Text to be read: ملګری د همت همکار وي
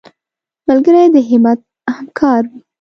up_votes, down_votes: 2, 1